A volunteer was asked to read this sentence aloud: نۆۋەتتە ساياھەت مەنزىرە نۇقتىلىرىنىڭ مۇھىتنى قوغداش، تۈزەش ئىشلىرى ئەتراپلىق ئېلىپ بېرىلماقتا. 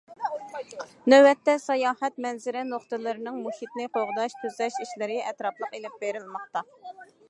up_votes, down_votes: 2, 0